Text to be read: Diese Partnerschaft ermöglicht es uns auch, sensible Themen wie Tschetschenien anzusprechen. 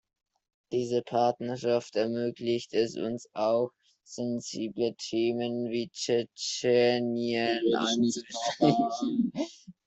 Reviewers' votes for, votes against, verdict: 0, 2, rejected